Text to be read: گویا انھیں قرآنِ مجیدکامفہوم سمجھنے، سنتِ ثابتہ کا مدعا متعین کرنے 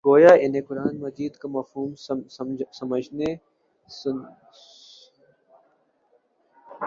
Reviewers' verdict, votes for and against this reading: rejected, 1, 2